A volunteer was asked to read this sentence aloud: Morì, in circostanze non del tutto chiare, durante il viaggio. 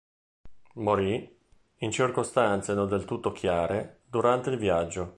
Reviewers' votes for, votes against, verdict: 2, 0, accepted